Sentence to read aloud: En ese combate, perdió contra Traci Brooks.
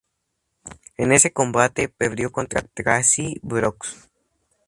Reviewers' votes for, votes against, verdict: 4, 2, accepted